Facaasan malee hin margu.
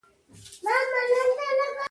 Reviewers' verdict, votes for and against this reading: rejected, 0, 2